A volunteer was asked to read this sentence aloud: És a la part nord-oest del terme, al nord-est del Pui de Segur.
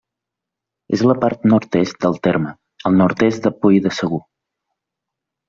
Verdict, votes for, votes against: rejected, 1, 2